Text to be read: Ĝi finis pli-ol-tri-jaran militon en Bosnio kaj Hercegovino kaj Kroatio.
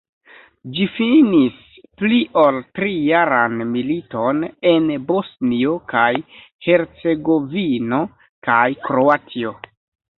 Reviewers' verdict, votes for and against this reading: accepted, 2, 1